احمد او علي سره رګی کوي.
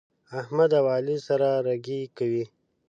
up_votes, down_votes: 2, 0